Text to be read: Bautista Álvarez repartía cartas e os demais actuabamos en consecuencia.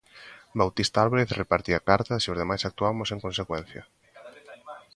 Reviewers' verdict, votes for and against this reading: rejected, 1, 2